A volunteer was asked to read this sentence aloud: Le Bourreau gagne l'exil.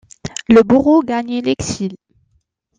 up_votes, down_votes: 0, 2